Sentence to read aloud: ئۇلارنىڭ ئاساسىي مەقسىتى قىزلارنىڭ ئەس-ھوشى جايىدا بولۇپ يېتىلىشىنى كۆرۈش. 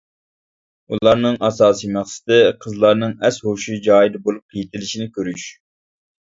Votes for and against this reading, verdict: 2, 0, accepted